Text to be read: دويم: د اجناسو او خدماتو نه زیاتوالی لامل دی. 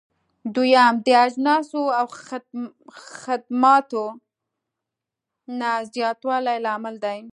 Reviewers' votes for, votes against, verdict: 2, 0, accepted